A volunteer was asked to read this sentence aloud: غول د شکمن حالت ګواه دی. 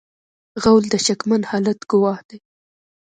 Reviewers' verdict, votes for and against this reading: rejected, 1, 2